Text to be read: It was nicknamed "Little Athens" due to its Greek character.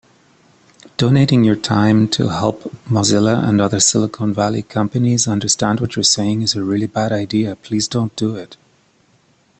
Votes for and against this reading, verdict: 0, 2, rejected